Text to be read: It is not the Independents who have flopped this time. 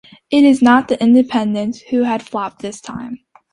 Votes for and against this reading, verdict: 1, 2, rejected